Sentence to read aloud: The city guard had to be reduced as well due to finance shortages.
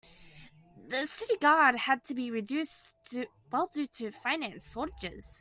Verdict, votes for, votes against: rejected, 0, 2